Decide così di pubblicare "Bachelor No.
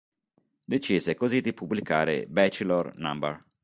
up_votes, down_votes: 0, 2